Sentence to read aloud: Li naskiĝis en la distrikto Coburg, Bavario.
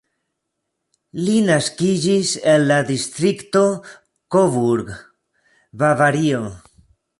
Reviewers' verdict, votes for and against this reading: rejected, 0, 2